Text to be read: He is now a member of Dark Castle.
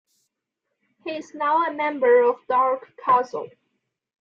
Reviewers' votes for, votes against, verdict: 2, 1, accepted